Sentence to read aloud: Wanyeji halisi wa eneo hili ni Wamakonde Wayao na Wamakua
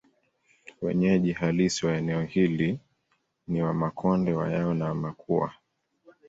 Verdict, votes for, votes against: accepted, 2, 1